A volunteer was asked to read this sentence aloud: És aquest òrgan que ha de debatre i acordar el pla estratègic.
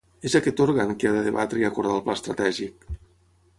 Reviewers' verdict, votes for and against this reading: rejected, 3, 3